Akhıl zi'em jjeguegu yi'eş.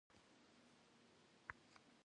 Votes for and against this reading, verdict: 1, 2, rejected